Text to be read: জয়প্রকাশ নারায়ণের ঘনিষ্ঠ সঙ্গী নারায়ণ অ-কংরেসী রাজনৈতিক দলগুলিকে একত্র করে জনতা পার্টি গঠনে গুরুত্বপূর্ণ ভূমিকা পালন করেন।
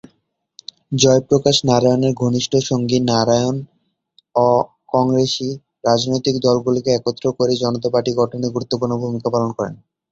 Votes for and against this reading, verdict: 1, 2, rejected